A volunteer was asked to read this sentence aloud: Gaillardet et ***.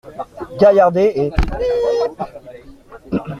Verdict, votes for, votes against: accepted, 2, 1